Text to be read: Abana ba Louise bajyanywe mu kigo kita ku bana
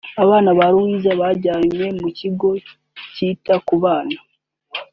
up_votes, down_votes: 1, 2